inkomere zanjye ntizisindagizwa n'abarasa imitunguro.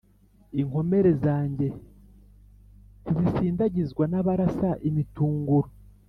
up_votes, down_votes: 2, 0